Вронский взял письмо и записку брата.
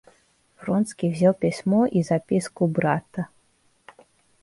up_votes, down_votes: 2, 0